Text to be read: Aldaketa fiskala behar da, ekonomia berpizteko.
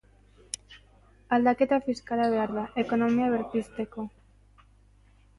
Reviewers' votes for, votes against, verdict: 0, 2, rejected